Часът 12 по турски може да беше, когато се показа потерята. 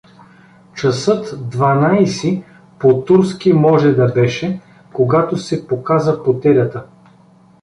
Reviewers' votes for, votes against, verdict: 0, 2, rejected